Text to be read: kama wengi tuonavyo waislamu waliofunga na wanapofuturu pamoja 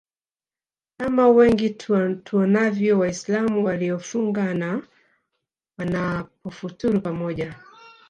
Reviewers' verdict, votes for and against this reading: accepted, 2, 1